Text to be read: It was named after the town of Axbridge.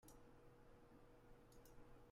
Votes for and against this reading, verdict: 0, 2, rejected